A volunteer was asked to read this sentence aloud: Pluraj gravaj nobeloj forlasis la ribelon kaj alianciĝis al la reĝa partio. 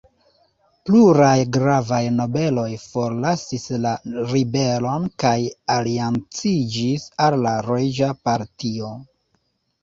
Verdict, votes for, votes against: accepted, 2, 0